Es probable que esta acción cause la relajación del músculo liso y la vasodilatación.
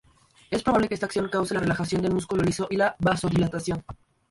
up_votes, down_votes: 0, 2